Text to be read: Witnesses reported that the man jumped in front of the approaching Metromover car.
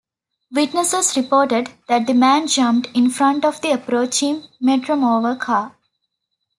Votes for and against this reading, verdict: 2, 0, accepted